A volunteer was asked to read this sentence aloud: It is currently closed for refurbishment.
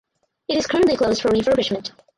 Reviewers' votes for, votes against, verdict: 0, 2, rejected